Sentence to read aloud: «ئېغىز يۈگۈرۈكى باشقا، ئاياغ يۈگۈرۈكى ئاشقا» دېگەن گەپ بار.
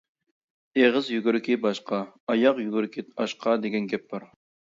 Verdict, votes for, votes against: accepted, 2, 0